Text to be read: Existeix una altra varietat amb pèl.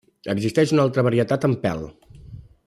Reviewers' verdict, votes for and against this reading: accepted, 2, 0